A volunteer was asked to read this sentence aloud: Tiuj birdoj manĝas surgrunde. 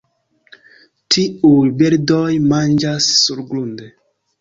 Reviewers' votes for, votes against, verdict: 2, 0, accepted